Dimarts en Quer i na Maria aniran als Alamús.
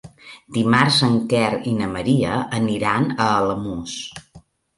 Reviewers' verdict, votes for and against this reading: rejected, 1, 2